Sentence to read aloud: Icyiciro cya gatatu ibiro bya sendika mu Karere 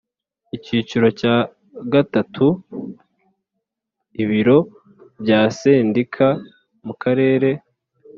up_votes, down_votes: 2, 0